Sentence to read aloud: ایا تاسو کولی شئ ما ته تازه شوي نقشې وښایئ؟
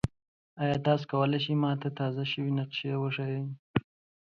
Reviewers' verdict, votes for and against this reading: accepted, 2, 0